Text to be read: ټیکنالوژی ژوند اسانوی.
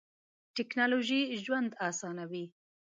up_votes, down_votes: 2, 0